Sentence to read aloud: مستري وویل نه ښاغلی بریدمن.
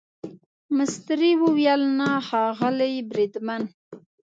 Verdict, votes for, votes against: accepted, 2, 0